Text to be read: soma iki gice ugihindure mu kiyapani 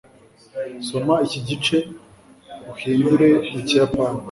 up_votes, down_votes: 2, 0